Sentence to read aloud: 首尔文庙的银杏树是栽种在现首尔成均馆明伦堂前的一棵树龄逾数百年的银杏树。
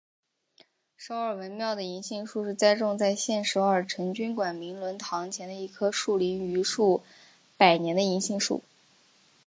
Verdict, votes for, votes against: accepted, 2, 0